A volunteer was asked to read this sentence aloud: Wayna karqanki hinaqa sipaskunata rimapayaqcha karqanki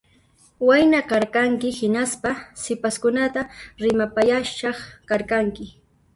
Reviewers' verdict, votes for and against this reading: rejected, 0, 2